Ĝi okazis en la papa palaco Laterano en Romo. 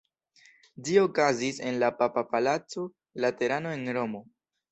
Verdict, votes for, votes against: accepted, 2, 0